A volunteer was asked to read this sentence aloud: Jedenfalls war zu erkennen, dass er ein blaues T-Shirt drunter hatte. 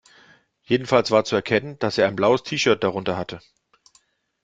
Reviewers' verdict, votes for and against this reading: accepted, 2, 0